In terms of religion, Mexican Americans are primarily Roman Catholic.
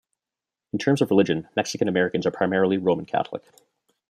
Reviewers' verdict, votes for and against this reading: rejected, 0, 2